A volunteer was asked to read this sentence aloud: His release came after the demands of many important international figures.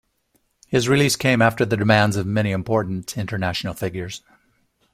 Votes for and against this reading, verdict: 1, 2, rejected